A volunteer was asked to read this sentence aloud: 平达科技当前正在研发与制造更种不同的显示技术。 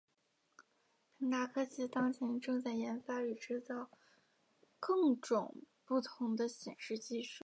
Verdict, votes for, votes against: accepted, 2, 0